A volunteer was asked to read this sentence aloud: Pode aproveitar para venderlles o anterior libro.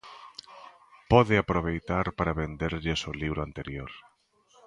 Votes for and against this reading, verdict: 0, 2, rejected